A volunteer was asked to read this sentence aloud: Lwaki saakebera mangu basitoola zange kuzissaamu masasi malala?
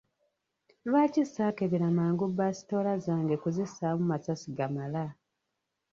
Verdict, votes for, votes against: rejected, 1, 2